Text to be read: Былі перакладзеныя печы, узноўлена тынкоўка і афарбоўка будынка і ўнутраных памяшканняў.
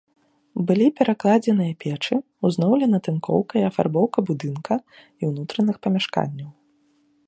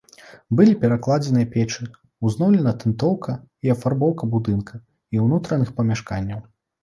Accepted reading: first